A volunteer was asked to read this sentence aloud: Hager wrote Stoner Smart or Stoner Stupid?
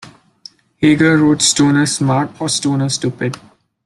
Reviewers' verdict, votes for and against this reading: accepted, 2, 1